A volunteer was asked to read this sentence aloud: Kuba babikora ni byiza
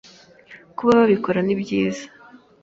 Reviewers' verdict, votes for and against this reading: accepted, 2, 0